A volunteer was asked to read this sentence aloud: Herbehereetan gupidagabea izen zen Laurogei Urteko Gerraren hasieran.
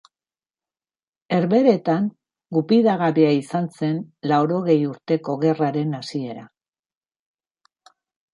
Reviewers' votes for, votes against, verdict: 1, 2, rejected